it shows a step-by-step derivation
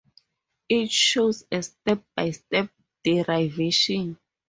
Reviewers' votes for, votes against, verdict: 4, 0, accepted